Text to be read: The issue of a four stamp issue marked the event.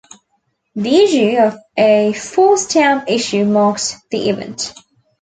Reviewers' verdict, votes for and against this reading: rejected, 1, 2